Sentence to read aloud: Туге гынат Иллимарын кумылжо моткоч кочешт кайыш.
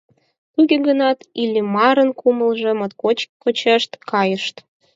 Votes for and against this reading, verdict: 0, 4, rejected